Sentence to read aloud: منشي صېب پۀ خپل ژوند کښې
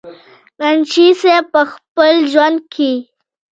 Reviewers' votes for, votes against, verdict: 1, 2, rejected